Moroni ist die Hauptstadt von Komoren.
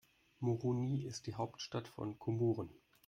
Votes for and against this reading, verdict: 2, 1, accepted